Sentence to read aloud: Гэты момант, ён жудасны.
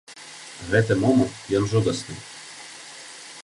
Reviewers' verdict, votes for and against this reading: accepted, 2, 0